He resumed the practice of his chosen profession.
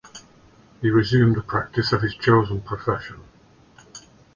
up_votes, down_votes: 2, 0